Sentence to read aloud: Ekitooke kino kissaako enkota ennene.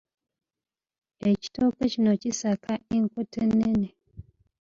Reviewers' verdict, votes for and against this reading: accepted, 2, 1